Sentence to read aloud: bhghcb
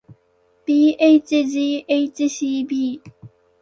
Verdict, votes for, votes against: accepted, 4, 0